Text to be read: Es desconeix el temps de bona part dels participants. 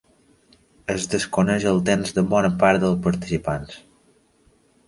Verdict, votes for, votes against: accepted, 2, 0